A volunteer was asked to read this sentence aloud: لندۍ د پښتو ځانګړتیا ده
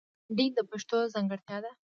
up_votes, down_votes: 0, 2